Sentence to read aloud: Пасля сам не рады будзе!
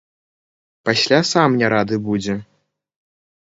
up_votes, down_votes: 0, 2